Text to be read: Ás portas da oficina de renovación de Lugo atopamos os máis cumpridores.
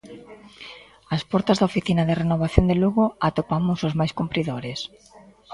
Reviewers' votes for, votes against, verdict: 2, 0, accepted